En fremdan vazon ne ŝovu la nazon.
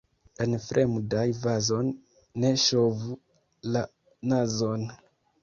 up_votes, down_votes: 0, 3